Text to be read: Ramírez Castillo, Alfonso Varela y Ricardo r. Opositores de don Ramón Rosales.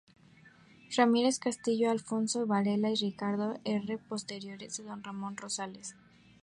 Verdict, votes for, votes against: rejected, 0, 2